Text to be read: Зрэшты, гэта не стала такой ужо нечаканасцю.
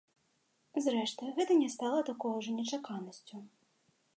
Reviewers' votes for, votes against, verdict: 2, 0, accepted